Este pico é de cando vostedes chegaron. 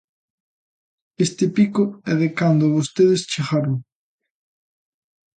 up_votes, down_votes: 2, 0